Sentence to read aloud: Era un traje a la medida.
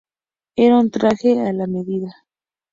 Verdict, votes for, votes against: accepted, 2, 0